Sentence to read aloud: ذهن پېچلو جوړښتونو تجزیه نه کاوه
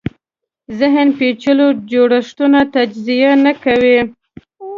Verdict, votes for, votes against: rejected, 0, 2